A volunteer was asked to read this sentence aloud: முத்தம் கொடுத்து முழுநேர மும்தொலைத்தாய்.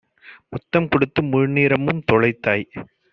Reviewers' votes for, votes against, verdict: 1, 2, rejected